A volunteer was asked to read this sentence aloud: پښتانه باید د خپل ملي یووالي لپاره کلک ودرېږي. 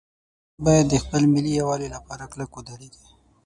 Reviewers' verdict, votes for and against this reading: rejected, 6, 9